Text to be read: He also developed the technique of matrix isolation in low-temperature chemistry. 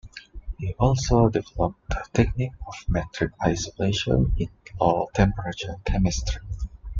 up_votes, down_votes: 1, 2